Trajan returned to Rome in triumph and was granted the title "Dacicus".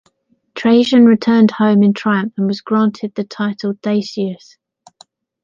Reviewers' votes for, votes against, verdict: 1, 2, rejected